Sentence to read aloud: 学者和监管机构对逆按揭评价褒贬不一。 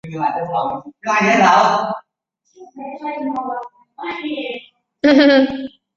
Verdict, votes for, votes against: rejected, 4, 5